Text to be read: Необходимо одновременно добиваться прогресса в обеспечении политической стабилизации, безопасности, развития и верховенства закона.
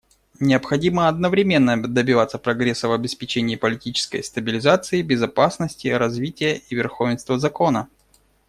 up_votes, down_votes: 1, 2